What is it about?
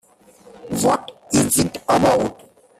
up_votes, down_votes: 0, 2